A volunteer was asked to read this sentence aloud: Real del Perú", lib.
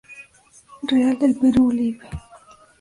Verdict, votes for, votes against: accepted, 2, 0